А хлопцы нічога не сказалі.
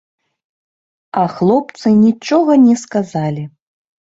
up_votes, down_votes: 2, 0